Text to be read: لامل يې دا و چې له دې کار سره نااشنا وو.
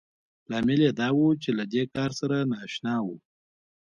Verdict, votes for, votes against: accepted, 2, 0